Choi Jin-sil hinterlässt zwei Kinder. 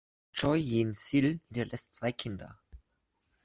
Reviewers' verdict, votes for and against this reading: rejected, 0, 2